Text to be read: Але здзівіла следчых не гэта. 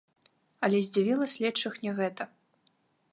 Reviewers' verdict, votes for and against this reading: accepted, 2, 0